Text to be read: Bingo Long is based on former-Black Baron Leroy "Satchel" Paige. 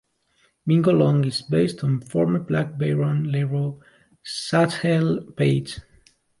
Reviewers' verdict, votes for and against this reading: rejected, 1, 2